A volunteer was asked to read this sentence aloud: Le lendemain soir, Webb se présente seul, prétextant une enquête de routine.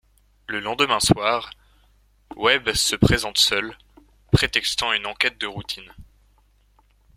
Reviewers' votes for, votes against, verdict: 2, 0, accepted